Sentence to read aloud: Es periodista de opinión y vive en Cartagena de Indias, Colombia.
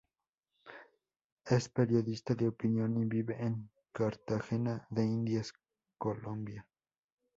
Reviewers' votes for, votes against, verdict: 2, 2, rejected